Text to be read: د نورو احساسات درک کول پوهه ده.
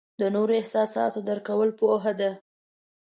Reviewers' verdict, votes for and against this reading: accepted, 2, 0